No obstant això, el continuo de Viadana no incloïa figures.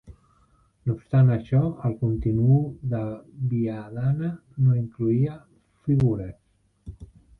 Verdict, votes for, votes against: rejected, 1, 2